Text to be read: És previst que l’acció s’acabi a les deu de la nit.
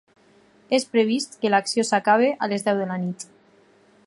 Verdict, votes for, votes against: accepted, 4, 2